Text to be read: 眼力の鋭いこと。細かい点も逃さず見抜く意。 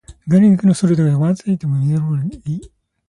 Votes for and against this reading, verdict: 1, 2, rejected